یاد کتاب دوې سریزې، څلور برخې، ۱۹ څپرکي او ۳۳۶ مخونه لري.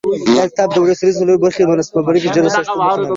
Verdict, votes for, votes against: rejected, 0, 2